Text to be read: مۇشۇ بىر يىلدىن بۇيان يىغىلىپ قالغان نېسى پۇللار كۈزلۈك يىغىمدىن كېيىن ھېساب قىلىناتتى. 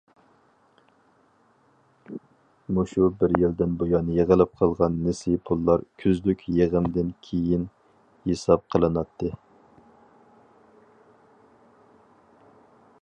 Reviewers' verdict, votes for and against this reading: accepted, 4, 0